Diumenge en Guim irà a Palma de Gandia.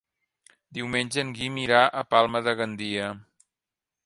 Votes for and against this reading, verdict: 3, 0, accepted